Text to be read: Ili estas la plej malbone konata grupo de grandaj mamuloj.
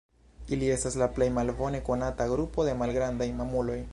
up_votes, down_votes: 0, 2